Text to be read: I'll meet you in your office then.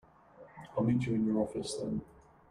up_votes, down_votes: 0, 2